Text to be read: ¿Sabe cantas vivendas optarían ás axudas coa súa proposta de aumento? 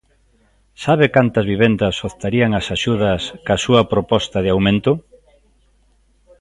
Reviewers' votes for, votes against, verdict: 2, 0, accepted